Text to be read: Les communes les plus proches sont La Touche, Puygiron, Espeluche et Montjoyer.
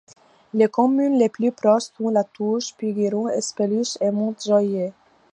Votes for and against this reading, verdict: 0, 2, rejected